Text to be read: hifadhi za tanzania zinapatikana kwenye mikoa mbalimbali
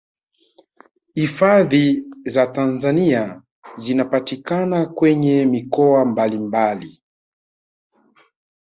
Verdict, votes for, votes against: accepted, 3, 1